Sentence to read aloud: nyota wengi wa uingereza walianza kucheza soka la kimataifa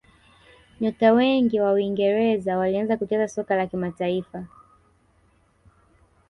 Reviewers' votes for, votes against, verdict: 1, 2, rejected